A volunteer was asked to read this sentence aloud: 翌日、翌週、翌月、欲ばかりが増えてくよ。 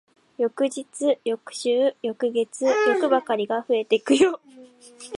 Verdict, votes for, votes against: rejected, 0, 2